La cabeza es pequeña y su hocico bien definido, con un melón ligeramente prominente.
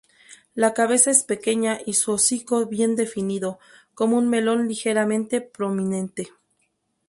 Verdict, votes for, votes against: rejected, 0, 2